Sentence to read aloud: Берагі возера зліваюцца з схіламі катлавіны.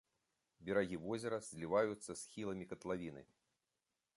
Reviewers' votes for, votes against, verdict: 3, 0, accepted